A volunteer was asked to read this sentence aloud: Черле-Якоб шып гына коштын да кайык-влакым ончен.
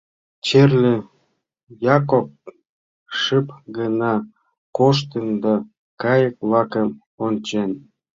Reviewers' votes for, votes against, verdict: 0, 2, rejected